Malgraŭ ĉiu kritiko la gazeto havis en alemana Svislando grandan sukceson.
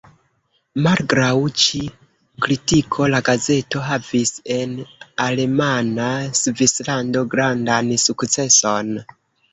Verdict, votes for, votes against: rejected, 0, 2